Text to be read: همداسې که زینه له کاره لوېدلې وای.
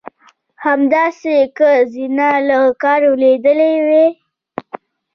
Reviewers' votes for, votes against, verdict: 2, 0, accepted